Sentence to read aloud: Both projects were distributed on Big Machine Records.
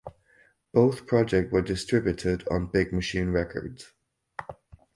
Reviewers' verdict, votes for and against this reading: accepted, 4, 0